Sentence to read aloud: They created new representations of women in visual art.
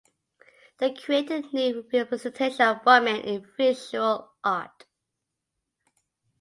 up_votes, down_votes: 0, 2